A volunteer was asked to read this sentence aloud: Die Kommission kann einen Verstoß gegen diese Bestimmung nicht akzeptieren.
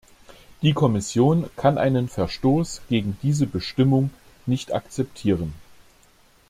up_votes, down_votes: 2, 0